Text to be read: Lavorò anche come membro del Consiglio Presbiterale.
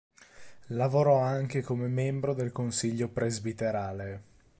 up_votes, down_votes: 3, 0